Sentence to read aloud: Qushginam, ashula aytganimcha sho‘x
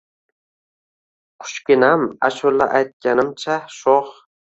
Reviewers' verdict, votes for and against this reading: accepted, 2, 0